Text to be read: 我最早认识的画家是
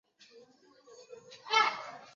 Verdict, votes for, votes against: rejected, 1, 2